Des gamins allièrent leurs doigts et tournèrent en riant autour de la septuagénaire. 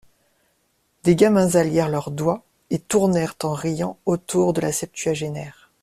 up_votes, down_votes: 2, 0